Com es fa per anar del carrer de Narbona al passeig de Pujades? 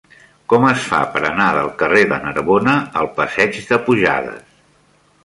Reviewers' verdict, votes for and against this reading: accepted, 2, 0